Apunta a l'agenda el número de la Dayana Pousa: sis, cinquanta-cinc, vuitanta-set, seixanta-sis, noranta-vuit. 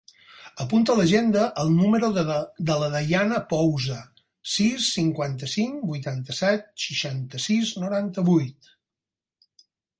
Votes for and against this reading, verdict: 0, 4, rejected